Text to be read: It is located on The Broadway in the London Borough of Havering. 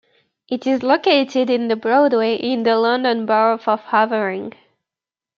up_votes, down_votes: 0, 2